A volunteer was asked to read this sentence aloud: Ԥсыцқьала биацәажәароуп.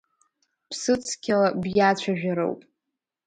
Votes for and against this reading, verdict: 2, 0, accepted